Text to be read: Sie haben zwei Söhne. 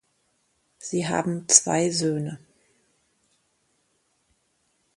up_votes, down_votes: 2, 0